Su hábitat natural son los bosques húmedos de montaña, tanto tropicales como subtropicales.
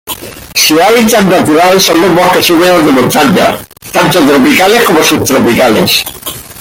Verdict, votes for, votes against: rejected, 1, 2